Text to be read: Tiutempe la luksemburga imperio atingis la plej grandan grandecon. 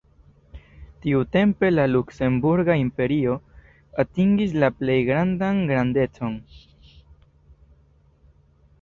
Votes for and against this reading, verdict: 2, 0, accepted